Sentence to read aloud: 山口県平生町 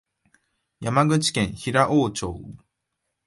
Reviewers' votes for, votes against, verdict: 1, 2, rejected